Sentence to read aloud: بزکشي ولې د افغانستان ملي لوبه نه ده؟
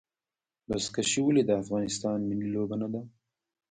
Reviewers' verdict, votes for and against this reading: rejected, 1, 2